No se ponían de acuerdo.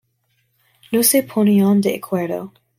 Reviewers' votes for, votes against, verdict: 1, 2, rejected